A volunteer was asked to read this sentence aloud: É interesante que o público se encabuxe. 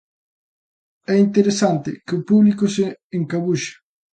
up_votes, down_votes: 2, 0